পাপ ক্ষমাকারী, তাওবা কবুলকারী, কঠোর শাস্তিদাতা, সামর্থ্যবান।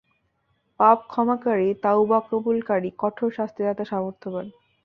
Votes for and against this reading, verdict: 2, 0, accepted